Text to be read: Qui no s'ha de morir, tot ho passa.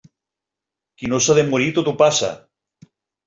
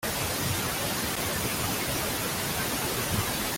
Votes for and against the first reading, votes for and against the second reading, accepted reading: 3, 0, 0, 2, first